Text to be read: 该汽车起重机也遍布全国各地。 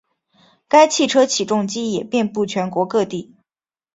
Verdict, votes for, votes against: accepted, 2, 0